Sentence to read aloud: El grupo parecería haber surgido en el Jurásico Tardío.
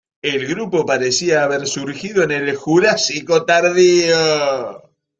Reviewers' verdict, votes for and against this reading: rejected, 0, 2